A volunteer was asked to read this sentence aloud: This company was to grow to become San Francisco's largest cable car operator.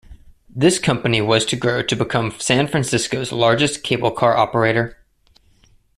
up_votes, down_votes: 2, 0